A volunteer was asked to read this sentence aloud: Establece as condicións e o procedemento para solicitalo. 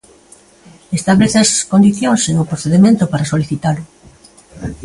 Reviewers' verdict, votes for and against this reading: rejected, 1, 2